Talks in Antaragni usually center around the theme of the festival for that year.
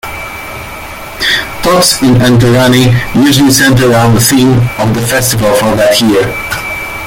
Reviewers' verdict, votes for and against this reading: accepted, 2, 1